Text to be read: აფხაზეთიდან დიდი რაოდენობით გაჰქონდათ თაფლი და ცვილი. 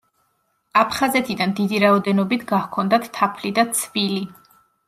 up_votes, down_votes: 2, 0